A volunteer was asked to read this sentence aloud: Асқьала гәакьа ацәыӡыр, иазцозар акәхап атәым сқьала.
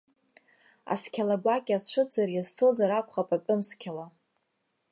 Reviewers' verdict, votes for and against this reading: rejected, 1, 2